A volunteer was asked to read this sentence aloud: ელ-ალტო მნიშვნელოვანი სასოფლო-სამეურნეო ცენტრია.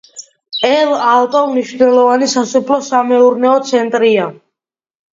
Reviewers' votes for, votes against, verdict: 2, 0, accepted